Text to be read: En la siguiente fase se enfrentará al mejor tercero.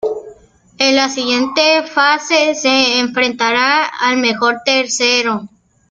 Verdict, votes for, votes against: rejected, 1, 2